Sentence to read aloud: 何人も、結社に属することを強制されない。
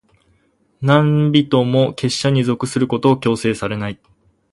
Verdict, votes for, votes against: accepted, 4, 0